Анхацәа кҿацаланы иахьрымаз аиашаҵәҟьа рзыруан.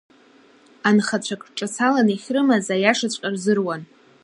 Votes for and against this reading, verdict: 1, 2, rejected